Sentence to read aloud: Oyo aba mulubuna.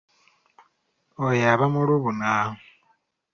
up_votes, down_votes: 2, 0